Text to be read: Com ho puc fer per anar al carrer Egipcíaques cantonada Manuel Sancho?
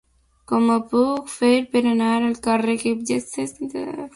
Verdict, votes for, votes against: rejected, 0, 2